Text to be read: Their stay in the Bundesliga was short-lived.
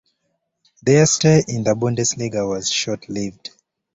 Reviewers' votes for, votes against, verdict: 2, 0, accepted